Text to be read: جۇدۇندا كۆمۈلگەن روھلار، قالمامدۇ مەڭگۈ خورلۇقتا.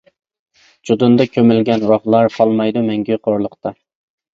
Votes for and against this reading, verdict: 1, 2, rejected